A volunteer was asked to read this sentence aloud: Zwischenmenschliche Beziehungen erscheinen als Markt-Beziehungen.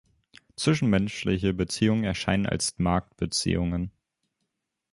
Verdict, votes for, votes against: accepted, 3, 0